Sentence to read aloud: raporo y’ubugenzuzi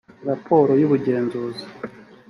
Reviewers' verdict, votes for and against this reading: accepted, 2, 0